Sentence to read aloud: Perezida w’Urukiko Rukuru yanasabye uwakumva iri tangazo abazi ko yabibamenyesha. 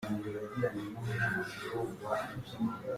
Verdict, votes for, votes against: rejected, 0, 2